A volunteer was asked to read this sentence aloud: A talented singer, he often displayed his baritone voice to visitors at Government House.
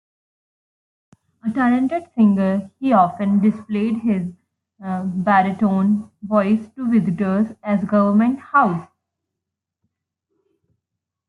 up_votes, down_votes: 2, 1